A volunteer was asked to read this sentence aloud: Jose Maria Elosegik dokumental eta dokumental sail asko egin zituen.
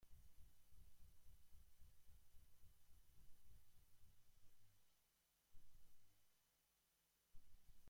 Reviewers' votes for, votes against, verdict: 0, 2, rejected